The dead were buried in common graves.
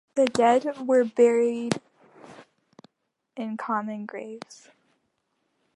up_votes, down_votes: 2, 1